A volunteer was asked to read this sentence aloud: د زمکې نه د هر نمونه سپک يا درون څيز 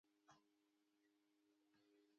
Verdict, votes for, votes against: rejected, 1, 2